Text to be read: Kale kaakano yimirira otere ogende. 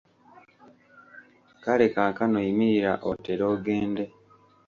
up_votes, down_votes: 0, 2